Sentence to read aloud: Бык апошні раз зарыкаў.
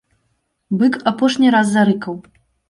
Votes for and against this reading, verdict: 3, 0, accepted